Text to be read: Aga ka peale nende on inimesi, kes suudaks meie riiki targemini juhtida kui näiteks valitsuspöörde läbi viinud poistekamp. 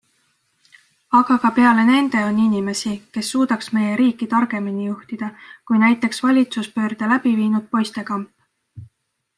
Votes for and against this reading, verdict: 2, 0, accepted